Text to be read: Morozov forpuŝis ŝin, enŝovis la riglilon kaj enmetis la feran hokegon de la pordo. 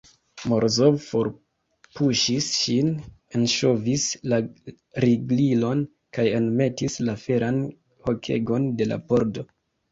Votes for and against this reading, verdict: 2, 3, rejected